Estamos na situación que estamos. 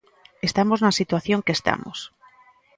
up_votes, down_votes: 2, 0